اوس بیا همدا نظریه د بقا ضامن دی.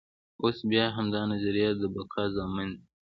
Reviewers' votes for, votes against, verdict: 2, 0, accepted